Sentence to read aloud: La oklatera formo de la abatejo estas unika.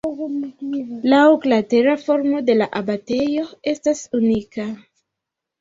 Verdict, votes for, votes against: rejected, 0, 2